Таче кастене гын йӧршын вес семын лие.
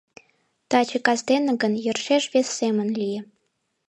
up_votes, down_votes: 0, 2